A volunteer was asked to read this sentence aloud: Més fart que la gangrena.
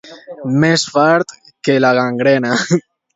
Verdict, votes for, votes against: accepted, 2, 1